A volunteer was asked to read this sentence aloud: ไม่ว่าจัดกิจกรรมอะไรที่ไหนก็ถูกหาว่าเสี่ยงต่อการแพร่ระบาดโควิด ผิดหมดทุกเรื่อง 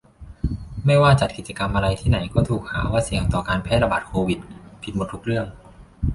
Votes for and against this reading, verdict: 2, 0, accepted